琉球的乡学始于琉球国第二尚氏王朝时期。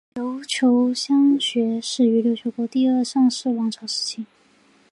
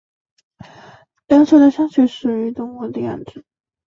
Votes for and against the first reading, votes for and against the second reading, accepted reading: 6, 2, 0, 2, first